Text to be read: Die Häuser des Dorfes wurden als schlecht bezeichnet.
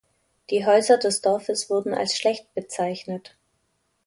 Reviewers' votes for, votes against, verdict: 2, 0, accepted